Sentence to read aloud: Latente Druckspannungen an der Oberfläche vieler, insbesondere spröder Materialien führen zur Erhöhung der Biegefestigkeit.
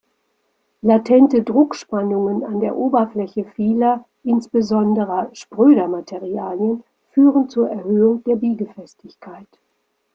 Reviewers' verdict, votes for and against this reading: rejected, 1, 2